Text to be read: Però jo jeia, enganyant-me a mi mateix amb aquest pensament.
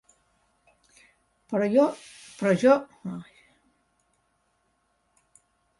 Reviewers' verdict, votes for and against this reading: rejected, 1, 2